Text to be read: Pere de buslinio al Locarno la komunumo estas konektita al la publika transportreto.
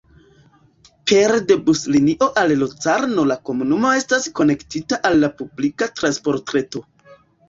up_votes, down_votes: 0, 2